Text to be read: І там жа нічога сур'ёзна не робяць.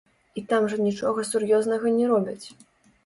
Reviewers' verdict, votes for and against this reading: rejected, 0, 2